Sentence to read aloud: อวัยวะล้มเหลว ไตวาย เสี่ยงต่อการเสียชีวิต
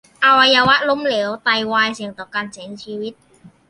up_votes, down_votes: 2, 1